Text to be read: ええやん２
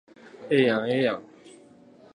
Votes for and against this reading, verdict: 0, 2, rejected